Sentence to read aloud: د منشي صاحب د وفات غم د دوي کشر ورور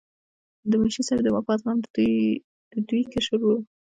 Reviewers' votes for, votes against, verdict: 0, 3, rejected